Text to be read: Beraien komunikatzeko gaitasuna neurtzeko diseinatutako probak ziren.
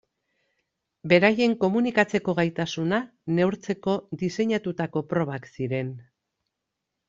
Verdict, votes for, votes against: accepted, 2, 0